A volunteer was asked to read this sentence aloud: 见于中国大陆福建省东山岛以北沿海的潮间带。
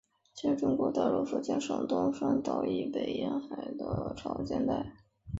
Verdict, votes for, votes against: rejected, 0, 2